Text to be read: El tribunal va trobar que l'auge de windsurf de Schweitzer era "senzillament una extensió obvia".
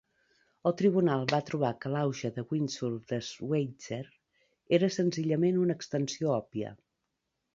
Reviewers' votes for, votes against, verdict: 3, 0, accepted